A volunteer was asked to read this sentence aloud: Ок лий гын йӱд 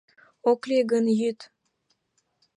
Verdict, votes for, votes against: accepted, 2, 0